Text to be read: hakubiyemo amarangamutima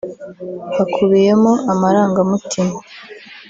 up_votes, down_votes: 1, 2